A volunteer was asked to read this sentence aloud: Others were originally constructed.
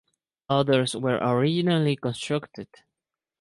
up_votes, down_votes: 0, 2